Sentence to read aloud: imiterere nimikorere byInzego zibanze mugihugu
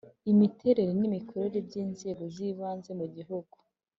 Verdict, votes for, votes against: accepted, 4, 0